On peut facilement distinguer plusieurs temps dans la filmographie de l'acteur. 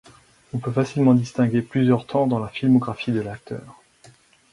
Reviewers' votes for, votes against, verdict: 4, 2, accepted